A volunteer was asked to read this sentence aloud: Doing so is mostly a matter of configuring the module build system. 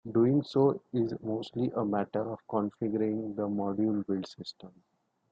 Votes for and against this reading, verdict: 2, 0, accepted